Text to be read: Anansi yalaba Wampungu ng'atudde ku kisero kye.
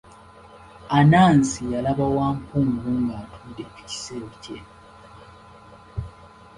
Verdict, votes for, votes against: accepted, 2, 0